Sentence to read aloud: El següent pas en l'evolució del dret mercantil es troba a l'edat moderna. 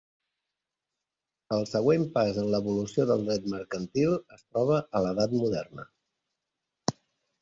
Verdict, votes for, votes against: accepted, 2, 0